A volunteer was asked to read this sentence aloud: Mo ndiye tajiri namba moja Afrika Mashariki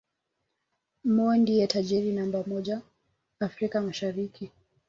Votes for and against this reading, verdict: 1, 2, rejected